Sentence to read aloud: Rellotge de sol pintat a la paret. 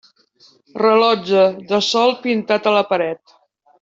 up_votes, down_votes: 1, 2